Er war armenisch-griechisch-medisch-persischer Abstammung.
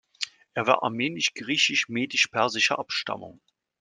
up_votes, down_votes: 2, 0